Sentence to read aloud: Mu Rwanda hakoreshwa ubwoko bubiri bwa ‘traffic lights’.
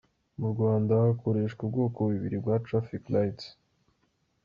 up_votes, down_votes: 2, 0